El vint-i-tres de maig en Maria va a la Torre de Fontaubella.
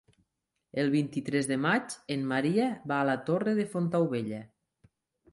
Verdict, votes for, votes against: accepted, 3, 0